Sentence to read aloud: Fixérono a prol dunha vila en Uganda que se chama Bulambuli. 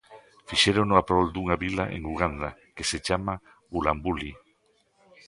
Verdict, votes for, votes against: accepted, 2, 0